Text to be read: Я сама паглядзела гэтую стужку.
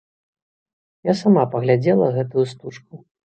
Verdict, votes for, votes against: accepted, 2, 0